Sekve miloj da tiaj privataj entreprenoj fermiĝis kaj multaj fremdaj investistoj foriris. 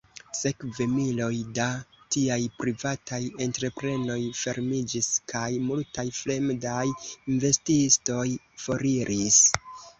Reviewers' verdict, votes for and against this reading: rejected, 0, 2